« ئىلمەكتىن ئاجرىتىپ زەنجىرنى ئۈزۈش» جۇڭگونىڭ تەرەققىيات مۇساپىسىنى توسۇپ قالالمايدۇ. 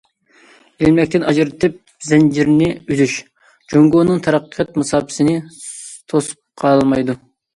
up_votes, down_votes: 2, 0